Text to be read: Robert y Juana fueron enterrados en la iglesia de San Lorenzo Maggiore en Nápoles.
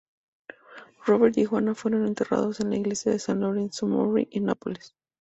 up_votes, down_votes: 0, 2